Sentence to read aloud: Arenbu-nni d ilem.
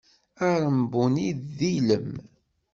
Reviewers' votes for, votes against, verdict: 0, 2, rejected